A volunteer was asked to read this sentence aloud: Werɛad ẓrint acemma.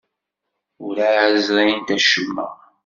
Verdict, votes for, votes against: rejected, 1, 2